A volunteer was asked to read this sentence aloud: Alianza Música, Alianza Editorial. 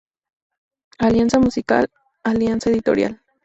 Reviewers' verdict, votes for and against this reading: rejected, 4, 4